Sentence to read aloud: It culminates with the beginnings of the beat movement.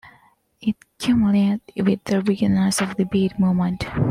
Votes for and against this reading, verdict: 1, 2, rejected